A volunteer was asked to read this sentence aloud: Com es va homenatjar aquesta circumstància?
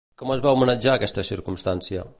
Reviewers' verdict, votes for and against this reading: accepted, 2, 0